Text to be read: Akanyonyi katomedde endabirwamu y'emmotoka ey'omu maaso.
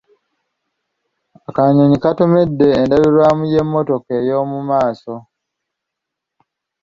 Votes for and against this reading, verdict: 2, 0, accepted